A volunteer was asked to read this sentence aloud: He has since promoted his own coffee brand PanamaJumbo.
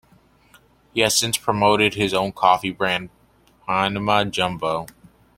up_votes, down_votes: 2, 0